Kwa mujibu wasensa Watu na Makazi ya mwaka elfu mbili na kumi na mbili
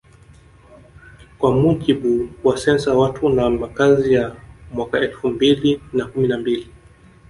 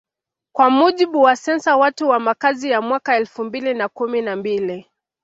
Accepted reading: second